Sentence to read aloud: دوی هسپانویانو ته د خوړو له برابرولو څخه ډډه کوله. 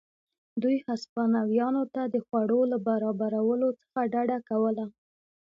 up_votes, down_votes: 1, 2